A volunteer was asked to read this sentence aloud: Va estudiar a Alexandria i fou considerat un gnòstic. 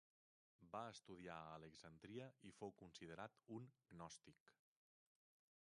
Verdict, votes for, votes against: rejected, 1, 2